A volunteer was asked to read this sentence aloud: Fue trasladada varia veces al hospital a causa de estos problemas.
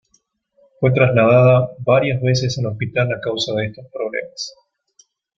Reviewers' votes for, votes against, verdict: 2, 0, accepted